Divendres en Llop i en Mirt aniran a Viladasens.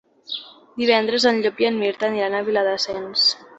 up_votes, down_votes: 2, 0